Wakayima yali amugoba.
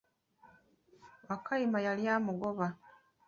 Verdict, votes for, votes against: rejected, 0, 2